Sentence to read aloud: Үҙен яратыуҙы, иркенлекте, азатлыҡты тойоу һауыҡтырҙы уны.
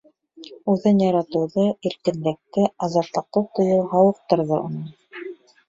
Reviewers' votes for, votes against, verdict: 0, 2, rejected